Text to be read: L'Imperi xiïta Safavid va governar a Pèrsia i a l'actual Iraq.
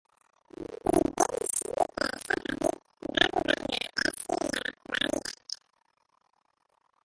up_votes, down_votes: 0, 3